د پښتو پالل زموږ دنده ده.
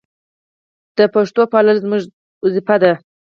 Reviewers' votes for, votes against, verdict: 4, 0, accepted